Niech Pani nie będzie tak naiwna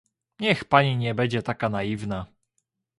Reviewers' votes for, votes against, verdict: 1, 2, rejected